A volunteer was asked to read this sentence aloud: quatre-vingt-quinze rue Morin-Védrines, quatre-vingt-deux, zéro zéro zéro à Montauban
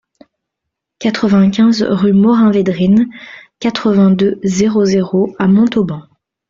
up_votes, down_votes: 0, 2